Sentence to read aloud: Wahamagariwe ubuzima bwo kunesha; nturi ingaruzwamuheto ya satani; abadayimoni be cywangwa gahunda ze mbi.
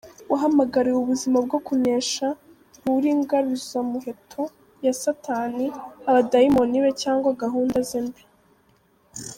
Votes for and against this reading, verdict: 2, 0, accepted